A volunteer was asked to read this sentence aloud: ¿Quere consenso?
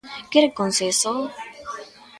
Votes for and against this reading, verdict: 2, 0, accepted